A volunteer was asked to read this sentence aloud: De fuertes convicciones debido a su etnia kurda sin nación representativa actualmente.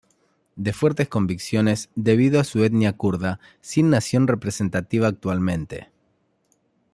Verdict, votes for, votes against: accepted, 2, 0